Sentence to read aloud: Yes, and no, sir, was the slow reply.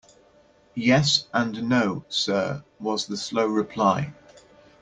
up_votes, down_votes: 2, 0